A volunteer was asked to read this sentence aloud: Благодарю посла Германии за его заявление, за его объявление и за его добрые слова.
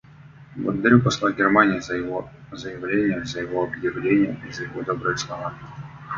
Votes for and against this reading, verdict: 0, 2, rejected